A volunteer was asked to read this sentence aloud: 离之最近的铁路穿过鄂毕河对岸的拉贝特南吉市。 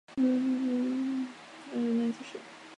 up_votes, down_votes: 0, 6